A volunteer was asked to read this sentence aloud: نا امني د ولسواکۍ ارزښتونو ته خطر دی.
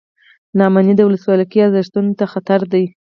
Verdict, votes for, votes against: accepted, 4, 0